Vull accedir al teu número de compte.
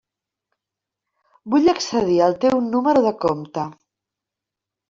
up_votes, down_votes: 3, 0